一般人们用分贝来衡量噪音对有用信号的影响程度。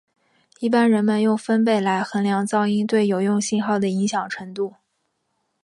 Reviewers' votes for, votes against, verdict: 2, 1, accepted